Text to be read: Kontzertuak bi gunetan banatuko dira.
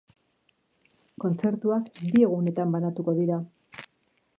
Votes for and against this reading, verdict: 3, 3, rejected